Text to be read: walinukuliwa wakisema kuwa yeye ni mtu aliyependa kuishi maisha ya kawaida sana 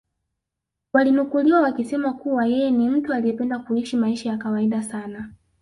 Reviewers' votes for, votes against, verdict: 3, 1, accepted